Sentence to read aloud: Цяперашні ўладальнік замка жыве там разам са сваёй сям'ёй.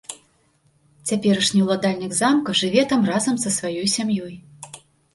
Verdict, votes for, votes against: accepted, 2, 0